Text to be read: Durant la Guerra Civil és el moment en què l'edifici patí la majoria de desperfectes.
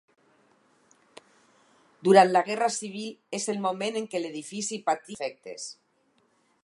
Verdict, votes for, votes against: rejected, 0, 4